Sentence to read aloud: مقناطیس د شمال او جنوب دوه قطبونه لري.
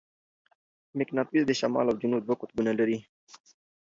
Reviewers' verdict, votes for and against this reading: accepted, 2, 0